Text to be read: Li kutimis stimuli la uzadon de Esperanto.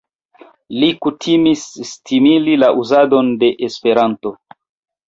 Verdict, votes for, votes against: rejected, 0, 2